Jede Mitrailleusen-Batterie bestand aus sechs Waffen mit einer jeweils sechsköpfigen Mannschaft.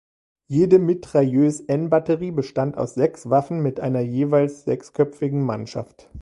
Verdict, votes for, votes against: rejected, 1, 2